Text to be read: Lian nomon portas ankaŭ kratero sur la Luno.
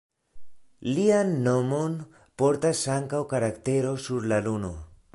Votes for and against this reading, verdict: 1, 2, rejected